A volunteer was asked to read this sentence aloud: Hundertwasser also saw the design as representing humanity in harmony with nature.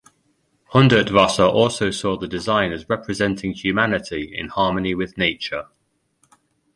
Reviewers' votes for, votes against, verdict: 2, 0, accepted